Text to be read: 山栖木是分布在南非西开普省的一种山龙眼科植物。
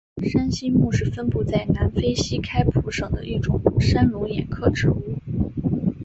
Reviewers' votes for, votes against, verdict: 5, 0, accepted